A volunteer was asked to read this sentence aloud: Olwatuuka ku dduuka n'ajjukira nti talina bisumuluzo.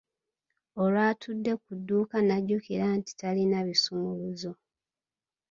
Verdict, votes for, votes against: rejected, 1, 2